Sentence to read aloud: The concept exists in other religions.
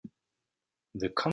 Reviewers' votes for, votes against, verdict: 0, 2, rejected